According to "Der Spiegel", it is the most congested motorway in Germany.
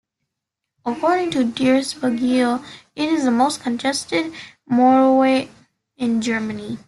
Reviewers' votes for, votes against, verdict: 1, 3, rejected